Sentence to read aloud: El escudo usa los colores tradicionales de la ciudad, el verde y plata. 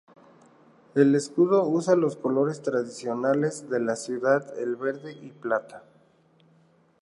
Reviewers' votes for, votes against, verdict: 2, 0, accepted